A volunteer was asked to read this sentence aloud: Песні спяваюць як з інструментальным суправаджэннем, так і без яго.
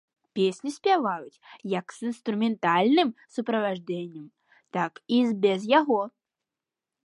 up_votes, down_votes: 0, 2